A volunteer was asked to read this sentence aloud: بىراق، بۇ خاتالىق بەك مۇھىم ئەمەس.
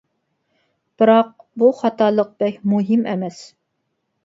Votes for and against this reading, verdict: 2, 0, accepted